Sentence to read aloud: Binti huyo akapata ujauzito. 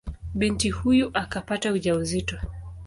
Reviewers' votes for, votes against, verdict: 2, 0, accepted